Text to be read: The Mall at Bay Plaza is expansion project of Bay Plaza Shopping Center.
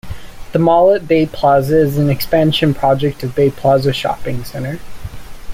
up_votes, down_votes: 1, 2